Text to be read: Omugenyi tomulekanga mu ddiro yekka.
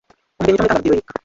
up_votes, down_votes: 0, 2